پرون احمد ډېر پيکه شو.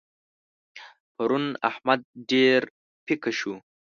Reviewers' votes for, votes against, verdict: 0, 2, rejected